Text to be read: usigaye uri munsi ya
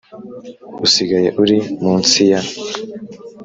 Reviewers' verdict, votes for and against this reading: accepted, 4, 0